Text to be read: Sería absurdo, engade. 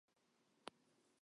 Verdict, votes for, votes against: rejected, 0, 4